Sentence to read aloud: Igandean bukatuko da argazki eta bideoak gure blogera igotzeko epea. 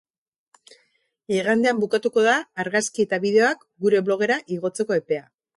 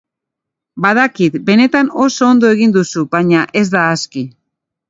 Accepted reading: first